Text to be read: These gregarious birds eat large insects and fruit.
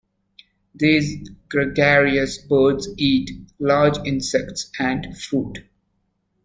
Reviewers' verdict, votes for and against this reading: accepted, 2, 0